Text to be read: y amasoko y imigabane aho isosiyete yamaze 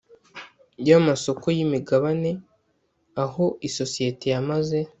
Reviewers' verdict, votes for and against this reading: accepted, 2, 0